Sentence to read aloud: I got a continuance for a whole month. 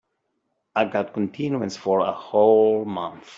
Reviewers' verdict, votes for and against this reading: rejected, 0, 2